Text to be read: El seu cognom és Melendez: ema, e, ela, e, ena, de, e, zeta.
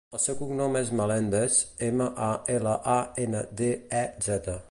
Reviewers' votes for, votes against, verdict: 1, 2, rejected